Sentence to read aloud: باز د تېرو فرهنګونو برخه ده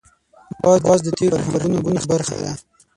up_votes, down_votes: 3, 6